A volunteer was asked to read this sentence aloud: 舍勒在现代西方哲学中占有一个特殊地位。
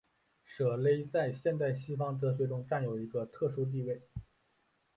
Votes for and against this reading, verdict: 1, 2, rejected